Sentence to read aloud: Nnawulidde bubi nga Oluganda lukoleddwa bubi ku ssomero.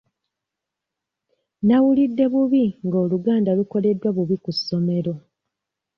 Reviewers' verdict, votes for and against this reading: rejected, 0, 2